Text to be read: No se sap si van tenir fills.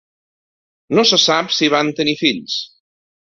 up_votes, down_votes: 3, 0